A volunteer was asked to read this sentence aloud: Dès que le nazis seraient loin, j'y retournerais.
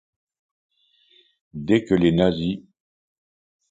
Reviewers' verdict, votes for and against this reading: rejected, 0, 2